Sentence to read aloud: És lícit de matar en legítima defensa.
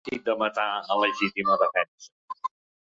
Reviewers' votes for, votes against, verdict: 1, 2, rejected